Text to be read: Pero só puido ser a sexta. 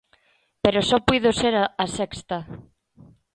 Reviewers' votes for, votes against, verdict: 0, 2, rejected